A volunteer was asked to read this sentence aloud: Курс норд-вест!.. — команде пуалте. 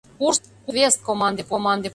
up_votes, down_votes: 0, 2